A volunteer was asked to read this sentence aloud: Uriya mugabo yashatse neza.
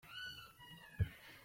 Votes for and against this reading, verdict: 0, 2, rejected